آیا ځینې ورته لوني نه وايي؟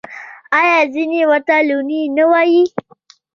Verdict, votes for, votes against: accepted, 2, 0